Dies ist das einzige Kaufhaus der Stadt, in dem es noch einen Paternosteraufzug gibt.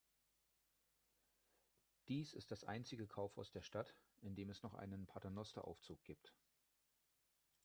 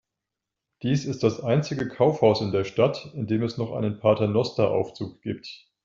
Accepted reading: first